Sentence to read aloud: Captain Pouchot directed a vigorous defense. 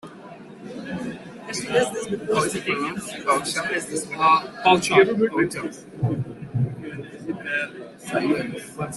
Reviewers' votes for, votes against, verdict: 0, 2, rejected